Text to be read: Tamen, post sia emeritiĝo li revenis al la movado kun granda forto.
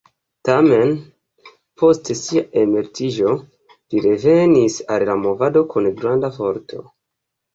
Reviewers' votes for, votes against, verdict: 2, 0, accepted